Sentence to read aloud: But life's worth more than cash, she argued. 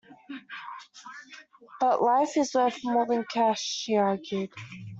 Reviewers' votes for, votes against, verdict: 1, 2, rejected